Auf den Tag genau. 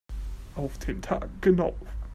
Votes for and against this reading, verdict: 2, 1, accepted